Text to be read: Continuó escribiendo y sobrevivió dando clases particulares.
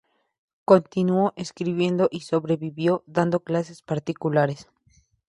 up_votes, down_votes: 2, 0